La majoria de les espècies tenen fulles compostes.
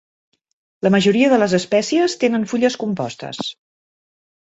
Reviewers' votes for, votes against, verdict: 3, 0, accepted